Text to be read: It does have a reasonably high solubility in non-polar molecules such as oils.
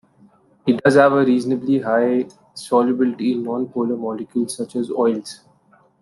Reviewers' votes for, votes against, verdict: 2, 0, accepted